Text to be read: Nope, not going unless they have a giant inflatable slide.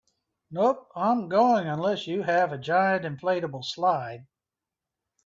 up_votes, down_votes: 1, 2